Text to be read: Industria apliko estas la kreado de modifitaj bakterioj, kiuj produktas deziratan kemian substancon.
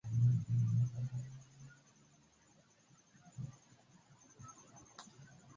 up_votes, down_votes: 2, 0